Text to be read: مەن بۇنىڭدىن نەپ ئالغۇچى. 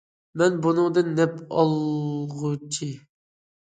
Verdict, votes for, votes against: accepted, 2, 0